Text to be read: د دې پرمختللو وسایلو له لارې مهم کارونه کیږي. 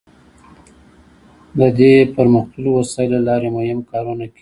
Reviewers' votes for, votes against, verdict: 2, 1, accepted